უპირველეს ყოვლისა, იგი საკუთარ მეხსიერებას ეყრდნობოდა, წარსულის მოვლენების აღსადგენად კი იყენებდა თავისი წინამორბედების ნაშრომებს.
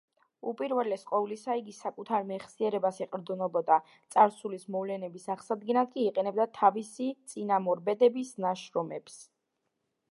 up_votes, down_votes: 2, 0